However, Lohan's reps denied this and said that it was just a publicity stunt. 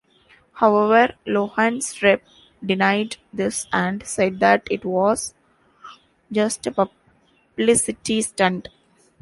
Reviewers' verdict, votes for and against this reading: rejected, 1, 2